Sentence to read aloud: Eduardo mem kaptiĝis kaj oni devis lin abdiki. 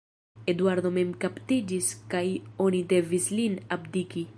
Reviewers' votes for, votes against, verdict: 1, 2, rejected